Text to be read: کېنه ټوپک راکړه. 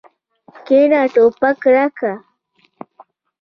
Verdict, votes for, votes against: accepted, 2, 0